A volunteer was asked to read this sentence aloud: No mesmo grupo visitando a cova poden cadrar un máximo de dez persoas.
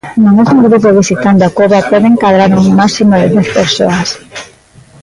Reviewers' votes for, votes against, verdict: 0, 2, rejected